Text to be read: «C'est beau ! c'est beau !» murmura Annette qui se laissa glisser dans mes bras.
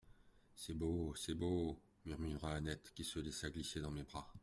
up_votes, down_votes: 2, 0